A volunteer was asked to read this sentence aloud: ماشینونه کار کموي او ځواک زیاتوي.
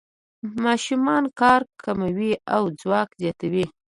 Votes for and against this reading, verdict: 2, 0, accepted